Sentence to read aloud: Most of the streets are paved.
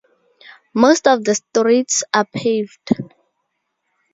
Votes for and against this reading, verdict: 2, 0, accepted